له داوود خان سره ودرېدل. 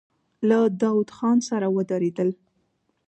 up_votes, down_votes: 1, 2